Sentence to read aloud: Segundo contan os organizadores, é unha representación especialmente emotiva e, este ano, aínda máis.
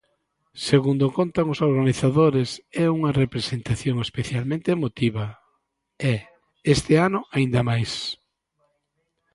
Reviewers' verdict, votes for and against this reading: accepted, 2, 0